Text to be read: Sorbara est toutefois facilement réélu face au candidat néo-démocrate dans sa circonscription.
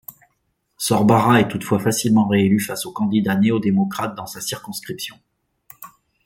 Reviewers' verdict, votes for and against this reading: accepted, 2, 0